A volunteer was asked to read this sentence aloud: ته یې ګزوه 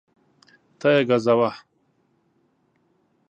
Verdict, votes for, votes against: accepted, 2, 0